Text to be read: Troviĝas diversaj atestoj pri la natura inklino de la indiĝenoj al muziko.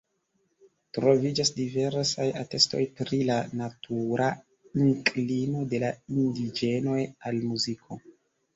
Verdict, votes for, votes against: rejected, 1, 2